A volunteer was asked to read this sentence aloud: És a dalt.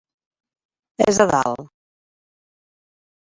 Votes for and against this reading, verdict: 3, 0, accepted